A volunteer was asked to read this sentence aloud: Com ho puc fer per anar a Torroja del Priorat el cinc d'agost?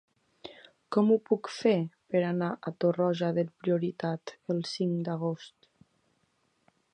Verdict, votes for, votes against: rejected, 0, 2